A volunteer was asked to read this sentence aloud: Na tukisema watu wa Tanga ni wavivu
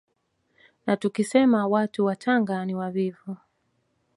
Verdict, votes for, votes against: accepted, 2, 0